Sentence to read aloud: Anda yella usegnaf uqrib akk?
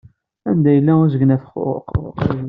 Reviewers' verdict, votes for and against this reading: rejected, 1, 2